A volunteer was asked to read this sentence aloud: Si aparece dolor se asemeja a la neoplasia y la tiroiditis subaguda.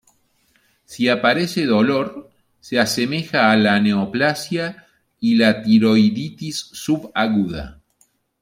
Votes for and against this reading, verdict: 2, 0, accepted